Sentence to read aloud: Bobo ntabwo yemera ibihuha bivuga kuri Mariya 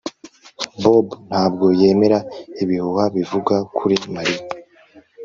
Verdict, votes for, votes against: accepted, 2, 0